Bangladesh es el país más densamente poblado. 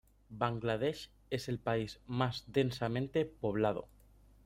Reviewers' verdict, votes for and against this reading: accepted, 2, 0